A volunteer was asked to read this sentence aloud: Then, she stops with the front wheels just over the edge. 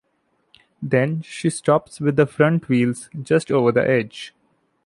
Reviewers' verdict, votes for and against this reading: accepted, 2, 0